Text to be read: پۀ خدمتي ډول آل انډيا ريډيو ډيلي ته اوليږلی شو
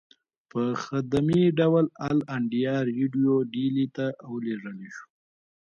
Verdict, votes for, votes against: rejected, 1, 2